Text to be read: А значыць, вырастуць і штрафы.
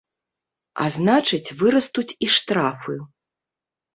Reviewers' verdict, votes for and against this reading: accepted, 2, 0